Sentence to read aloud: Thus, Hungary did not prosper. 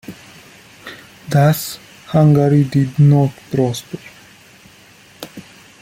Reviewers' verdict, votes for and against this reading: rejected, 1, 2